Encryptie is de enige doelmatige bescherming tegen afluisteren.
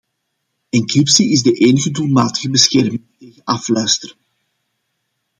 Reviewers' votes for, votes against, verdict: 0, 2, rejected